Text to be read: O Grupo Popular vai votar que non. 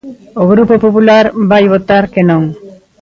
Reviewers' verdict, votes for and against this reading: rejected, 1, 2